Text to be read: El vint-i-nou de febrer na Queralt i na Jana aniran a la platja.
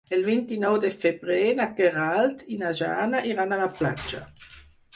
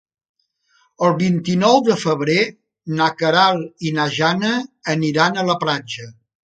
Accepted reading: second